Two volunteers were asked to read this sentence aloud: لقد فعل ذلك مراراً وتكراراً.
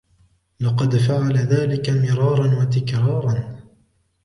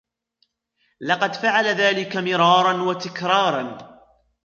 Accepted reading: first